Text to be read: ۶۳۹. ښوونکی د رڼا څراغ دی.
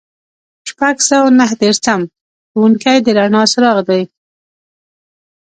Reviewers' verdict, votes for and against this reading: rejected, 0, 2